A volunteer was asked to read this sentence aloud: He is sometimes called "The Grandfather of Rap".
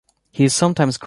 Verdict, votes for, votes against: rejected, 0, 2